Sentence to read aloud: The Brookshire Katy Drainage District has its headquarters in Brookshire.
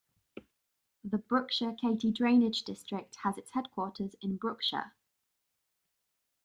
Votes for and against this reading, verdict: 1, 2, rejected